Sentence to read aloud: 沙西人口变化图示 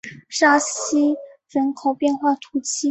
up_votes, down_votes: 2, 0